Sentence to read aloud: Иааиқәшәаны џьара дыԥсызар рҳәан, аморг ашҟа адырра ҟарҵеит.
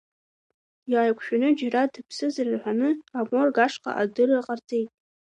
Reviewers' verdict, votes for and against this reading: accepted, 3, 2